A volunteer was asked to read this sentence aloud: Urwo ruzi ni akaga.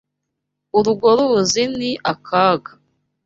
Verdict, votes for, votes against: accepted, 2, 0